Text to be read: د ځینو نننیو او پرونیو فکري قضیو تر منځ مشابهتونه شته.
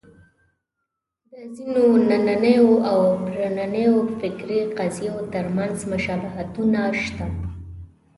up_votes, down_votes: 1, 2